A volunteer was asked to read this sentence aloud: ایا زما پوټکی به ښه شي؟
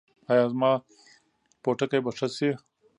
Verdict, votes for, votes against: accepted, 2, 0